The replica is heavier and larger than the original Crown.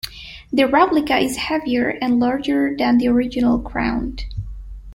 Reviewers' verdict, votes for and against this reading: accepted, 2, 0